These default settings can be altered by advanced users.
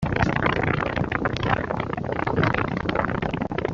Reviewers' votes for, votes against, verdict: 0, 2, rejected